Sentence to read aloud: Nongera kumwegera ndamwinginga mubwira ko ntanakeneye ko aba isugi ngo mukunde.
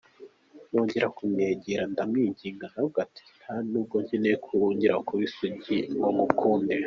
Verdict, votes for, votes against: rejected, 1, 3